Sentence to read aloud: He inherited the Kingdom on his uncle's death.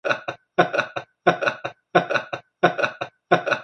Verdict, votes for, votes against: rejected, 0, 2